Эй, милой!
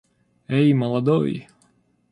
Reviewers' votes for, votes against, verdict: 0, 2, rejected